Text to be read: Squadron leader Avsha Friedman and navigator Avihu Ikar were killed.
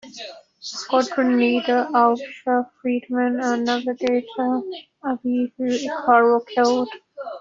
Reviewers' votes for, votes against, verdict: 0, 2, rejected